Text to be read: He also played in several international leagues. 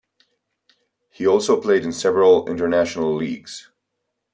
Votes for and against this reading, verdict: 2, 0, accepted